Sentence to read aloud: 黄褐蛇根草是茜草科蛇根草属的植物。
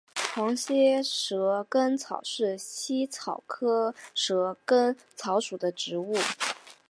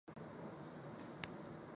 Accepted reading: first